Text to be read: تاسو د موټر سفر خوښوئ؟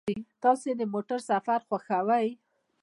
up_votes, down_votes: 2, 0